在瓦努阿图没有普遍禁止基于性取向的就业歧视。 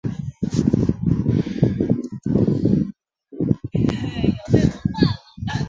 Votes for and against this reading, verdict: 2, 4, rejected